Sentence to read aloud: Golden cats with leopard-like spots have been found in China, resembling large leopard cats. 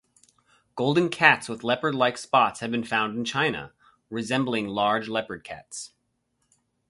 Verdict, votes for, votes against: accepted, 4, 0